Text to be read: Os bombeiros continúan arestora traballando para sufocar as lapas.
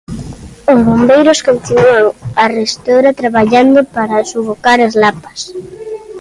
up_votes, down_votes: 2, 0